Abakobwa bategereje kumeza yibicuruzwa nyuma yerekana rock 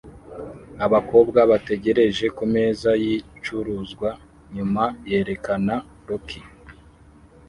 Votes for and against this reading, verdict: 0, 2, rejected